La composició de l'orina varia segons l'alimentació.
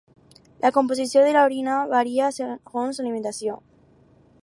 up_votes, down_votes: 2, 4